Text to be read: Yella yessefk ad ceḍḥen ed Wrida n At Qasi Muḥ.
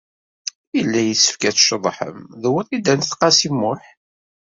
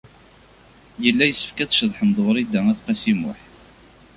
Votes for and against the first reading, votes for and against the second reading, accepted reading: 0, 2, 2, 0, second